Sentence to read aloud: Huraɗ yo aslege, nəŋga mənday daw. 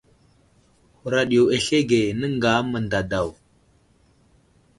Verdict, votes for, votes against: accepted, 2, 0